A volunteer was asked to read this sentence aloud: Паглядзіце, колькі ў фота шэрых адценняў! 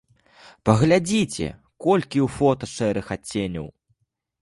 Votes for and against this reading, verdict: 2, 0, accepted